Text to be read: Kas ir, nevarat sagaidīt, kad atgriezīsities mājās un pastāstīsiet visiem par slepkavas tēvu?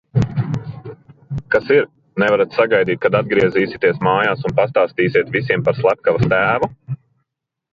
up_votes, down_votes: 2, 0